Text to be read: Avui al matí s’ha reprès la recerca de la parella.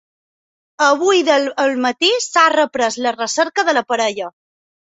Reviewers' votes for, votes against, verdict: 1, 2, rejected